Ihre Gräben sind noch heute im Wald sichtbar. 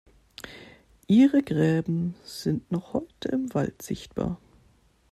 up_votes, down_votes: 2, 0